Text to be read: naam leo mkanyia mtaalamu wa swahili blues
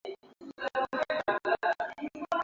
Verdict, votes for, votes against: rejected, 0, 2